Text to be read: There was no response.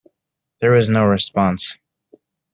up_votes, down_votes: 1, 2